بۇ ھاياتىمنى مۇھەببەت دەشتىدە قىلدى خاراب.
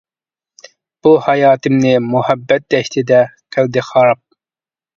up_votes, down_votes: 2, 1